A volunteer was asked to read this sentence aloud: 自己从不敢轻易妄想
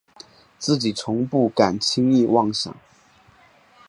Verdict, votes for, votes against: accepted, 5, 0